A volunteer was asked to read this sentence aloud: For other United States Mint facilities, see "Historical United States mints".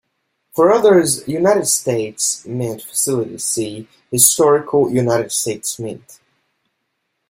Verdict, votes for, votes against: rejected, 0, 2